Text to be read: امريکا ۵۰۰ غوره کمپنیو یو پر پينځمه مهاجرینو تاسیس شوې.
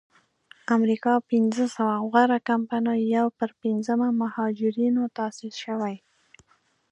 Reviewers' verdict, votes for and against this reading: rejected, 0, 2